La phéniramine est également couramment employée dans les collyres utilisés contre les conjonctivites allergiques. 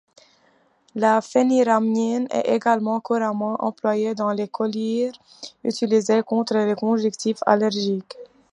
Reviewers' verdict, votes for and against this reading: rejected, 1, 2